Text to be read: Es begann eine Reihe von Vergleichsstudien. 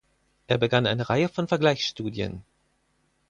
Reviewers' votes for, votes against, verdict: 0, 4, rejected